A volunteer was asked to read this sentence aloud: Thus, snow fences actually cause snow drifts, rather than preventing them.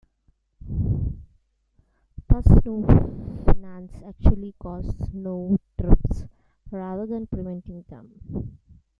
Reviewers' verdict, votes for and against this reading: rejected, 1, 2